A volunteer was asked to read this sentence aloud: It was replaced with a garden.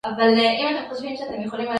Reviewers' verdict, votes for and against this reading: rejected, 0, 2